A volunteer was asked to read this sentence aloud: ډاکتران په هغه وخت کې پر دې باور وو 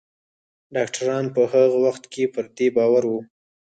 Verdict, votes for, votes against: rejected, 2, 4